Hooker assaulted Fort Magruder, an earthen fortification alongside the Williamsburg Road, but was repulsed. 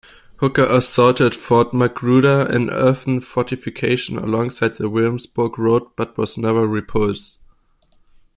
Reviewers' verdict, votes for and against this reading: rejected, 1, 2